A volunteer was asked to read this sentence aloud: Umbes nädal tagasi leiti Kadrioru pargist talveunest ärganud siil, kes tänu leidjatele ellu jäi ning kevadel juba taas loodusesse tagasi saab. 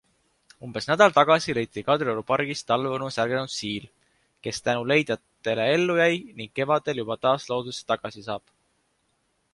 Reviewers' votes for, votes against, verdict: 2, 0, accepted